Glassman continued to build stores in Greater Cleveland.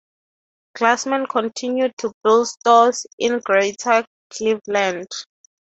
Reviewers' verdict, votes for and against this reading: accepted, 3, 0